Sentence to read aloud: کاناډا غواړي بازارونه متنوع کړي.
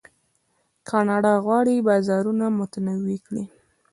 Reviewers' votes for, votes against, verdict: 0, 2, rejected